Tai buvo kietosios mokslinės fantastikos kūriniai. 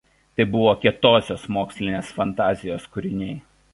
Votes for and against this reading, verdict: 1, 2, rejected